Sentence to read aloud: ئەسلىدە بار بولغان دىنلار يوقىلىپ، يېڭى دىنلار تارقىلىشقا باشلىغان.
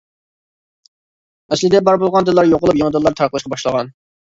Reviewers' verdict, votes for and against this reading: rejected, 1, 2